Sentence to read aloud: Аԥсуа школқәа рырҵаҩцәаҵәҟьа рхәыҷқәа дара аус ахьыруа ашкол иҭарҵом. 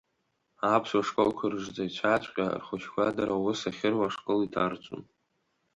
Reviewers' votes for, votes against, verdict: 2, 0, accepted